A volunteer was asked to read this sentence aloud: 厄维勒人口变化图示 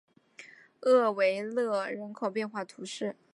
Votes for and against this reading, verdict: 2, 0, accepted